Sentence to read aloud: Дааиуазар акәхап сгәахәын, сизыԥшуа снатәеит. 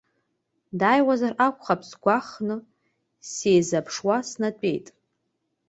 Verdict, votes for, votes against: accepted, 2, 0